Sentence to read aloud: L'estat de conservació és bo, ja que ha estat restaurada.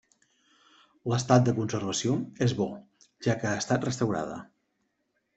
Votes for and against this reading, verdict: 3, 0, accepted